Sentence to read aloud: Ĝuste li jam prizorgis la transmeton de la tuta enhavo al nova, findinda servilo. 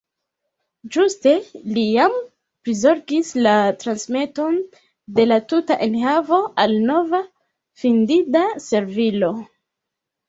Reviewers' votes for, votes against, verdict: 2, 0, accepted